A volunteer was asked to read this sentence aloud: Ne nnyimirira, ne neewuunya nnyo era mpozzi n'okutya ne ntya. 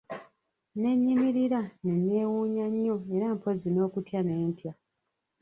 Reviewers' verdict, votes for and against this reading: rejected, 0, 2